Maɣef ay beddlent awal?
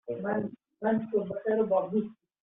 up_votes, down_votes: 0, 2